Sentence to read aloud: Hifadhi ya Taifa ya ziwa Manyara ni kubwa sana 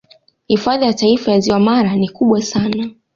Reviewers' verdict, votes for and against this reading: accepted, 2, 0